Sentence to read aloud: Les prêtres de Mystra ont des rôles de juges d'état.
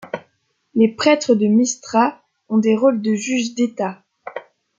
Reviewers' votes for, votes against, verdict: 2, 0, accepted